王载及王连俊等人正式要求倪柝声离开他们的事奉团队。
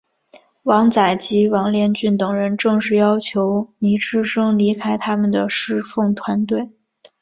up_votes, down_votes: 2, 1